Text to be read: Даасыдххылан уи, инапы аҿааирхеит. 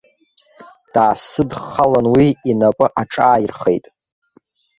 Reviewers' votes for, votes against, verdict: 2, 1, accepted